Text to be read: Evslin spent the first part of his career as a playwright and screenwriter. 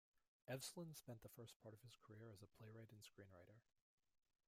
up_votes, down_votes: 1, 2